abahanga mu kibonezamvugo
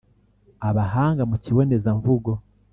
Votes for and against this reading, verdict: 2, 0, accepted